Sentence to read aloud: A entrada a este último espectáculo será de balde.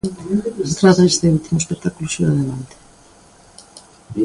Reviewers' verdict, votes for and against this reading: rejected, 1, 2